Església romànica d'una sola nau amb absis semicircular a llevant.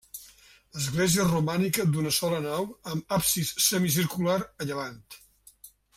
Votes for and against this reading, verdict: 3, 0, accepted